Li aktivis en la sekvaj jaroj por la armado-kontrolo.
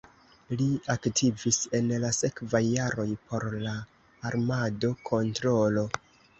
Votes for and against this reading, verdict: 1, 2, rejected